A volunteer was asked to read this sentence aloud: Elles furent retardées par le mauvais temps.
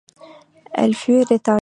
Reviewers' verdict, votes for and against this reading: rejected, 0, 2